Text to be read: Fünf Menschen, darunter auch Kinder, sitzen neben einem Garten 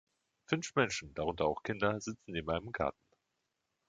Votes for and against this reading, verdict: 0, 2, rejected